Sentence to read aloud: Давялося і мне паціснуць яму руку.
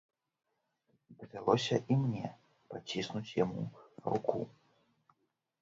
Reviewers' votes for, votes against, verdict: 1, 2, rejected